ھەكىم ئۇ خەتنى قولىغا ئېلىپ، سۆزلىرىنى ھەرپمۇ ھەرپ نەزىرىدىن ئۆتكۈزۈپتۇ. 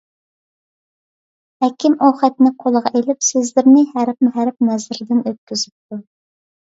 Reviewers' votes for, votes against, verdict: 2, 0, accepted